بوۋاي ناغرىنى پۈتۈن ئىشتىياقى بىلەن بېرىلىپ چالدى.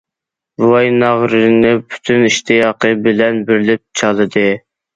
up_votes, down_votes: 1, 2